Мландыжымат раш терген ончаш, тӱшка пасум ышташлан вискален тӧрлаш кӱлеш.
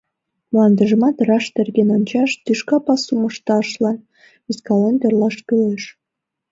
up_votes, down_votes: 2, 0